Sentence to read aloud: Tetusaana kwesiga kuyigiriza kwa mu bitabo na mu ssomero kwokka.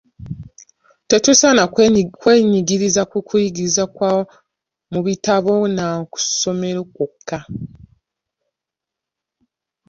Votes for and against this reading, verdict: 0, 2, rejected